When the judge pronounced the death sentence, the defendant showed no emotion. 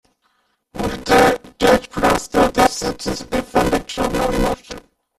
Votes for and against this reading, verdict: 1, 2, rejected